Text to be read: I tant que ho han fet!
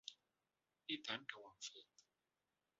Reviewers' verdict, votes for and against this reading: rejected, 0, 2